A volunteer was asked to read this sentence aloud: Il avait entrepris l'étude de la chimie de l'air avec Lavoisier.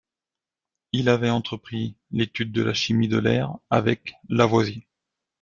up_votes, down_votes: 1, 2